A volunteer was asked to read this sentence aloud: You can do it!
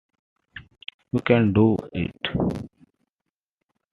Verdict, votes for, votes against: rejected, 1, 2